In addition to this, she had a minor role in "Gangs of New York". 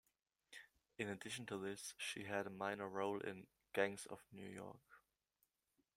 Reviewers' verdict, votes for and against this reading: rejected, 0, 2